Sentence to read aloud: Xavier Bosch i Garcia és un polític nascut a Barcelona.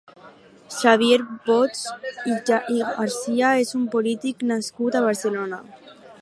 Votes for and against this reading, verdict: 2, 0, accepted